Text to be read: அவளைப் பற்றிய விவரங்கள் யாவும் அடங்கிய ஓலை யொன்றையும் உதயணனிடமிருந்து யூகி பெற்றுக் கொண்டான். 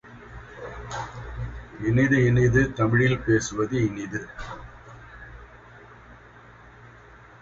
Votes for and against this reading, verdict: 0, 2, rejected